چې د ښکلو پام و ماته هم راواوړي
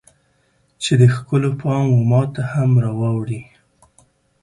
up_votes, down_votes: 2, 0